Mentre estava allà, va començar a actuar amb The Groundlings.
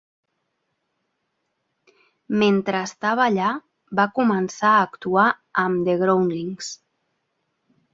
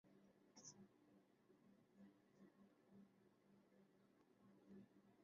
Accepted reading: first